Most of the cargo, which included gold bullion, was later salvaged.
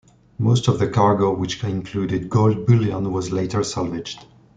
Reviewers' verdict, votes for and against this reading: accepted, 2, 1